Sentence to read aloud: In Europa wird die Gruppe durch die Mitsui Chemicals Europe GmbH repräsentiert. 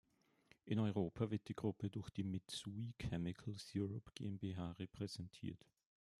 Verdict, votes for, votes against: accepted, 2, 0